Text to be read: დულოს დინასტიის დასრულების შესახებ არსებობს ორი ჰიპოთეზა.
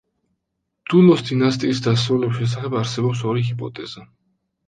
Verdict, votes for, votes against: accepted, 2, 0